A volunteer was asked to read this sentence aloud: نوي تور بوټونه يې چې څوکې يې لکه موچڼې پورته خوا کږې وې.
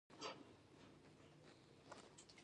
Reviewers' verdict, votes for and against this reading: rejected, 1, 2